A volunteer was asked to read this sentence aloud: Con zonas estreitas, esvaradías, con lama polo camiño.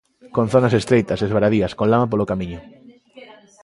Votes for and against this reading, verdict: 2, 1, accepted